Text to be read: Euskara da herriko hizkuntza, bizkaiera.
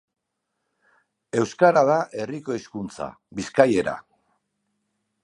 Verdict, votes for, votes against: accepted, 2, 0